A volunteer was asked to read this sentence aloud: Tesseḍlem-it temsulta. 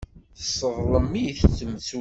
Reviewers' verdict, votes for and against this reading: rejected, 1, 2